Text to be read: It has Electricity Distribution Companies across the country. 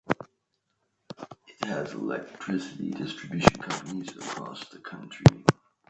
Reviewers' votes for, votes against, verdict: 2, 1, accepted